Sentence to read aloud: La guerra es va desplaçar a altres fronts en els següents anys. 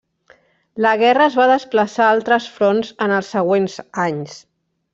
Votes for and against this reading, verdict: 3, 0, accepted